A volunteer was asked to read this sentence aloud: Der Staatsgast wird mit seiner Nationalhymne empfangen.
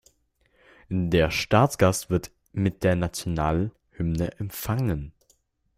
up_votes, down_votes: 0, 2